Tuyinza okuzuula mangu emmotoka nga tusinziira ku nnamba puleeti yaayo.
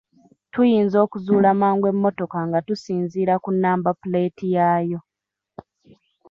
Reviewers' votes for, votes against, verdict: 2, 1, accepted